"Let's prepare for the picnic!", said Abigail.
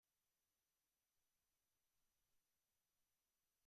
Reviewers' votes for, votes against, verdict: 0, 2, rejected